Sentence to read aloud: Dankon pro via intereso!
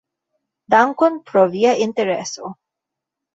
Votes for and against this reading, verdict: 1, 2, rejected